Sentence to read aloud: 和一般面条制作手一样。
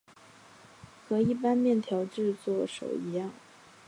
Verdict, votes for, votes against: accepted, 4, 1